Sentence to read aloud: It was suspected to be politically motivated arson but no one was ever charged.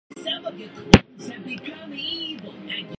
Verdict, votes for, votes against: rejected, 0, 2